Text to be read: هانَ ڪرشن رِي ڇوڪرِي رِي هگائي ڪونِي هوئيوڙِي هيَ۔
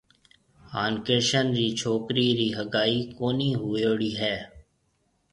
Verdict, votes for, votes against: accepted, 2, 0